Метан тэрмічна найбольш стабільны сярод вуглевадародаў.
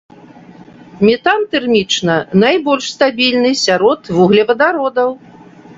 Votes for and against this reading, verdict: 2, 0, accepted